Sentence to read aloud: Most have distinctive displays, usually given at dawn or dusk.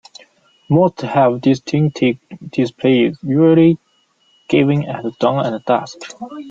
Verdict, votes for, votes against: rejected, 1, 2